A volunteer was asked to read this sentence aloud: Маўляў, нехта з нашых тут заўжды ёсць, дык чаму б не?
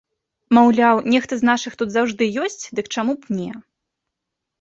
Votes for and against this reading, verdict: 2, 0, accepted